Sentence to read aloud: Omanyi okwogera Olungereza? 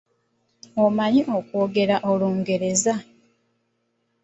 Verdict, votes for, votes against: accepted, 2, 0